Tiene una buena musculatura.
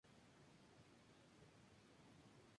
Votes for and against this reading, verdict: 0, 2, rejected